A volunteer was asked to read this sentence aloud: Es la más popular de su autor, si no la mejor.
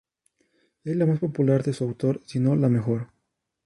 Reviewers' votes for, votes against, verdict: 2, 2, rejected